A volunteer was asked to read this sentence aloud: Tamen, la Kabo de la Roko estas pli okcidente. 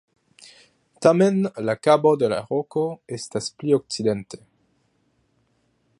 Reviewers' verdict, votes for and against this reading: rejected, 1, 2